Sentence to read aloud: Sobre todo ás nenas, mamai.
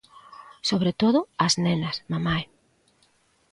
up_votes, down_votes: 2, 0